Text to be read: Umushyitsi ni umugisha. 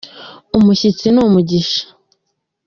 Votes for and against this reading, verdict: 2, 1, accepted